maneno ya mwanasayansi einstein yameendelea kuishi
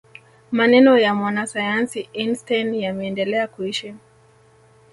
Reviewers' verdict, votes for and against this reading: rejected, 0, 2